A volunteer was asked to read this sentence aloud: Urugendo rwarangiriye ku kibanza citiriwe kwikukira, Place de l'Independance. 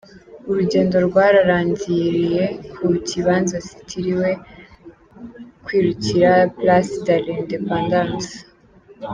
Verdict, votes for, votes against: rejected, 1, 2